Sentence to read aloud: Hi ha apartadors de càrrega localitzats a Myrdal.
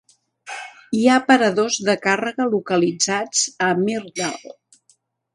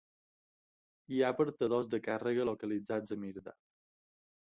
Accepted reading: second